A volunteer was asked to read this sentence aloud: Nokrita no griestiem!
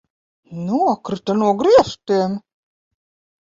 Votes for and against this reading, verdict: 2, 0, accepted